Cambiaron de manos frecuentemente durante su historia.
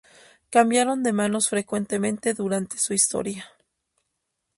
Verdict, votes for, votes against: rejected, 0, 2